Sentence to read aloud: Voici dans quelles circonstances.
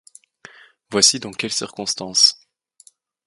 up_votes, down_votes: 2, 0